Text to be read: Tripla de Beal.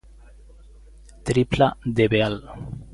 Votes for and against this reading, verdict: 1, 2, rejected